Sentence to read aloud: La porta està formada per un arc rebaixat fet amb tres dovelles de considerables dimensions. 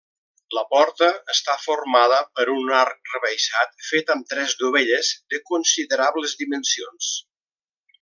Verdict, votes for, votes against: accepted, 2, 0